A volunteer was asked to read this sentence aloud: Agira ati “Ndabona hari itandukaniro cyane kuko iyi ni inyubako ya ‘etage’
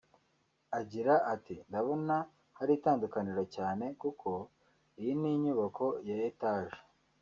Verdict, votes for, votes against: rejected, 1, 2